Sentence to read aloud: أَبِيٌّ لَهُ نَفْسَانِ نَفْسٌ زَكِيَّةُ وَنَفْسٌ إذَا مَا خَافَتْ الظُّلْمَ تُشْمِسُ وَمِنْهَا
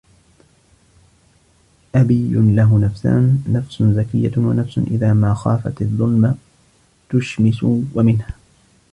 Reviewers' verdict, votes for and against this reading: rejected, 1, 2